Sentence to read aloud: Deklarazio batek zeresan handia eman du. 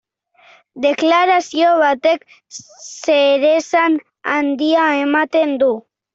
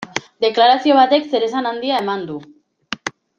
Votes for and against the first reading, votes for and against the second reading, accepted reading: 1, 2, 2, 0, second